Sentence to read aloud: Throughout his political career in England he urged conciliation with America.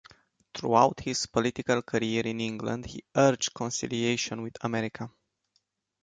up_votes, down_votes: 2, 0